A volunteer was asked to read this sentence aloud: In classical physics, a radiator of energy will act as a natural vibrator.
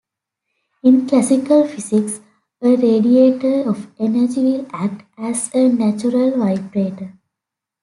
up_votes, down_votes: 2, 0